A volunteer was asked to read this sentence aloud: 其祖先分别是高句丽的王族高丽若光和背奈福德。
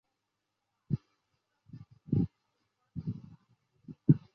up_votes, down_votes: 0, 2